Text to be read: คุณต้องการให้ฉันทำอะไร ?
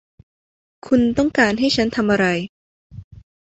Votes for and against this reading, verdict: 2, 0, accepted